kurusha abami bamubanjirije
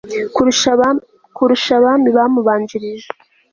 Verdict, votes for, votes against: rejected, 1, 2